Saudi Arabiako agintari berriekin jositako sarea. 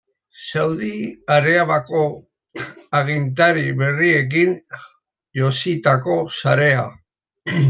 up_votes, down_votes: 0, 2